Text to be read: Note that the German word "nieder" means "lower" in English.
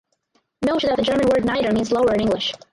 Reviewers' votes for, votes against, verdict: 2, 2, rejected